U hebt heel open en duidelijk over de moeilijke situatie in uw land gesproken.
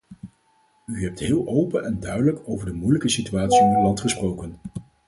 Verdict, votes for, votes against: accepted, 4, 2